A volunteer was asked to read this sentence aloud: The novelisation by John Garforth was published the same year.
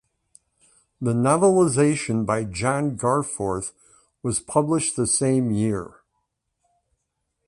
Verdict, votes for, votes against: accepted, 3, 0